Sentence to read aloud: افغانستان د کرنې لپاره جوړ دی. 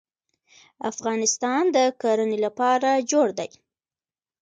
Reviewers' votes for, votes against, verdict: 1, 2, rejected